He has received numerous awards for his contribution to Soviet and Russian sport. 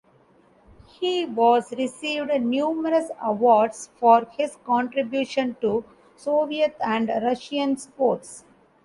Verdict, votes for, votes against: rejected, 0, 2